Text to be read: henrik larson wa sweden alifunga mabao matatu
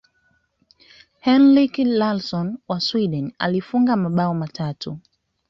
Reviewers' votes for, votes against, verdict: 2, 0, accepted